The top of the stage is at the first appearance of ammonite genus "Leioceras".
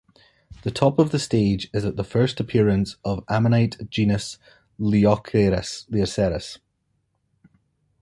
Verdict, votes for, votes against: rejected, 1, 2